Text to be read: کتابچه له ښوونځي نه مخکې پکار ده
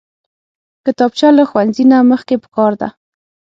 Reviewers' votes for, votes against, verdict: 6, 0, accepted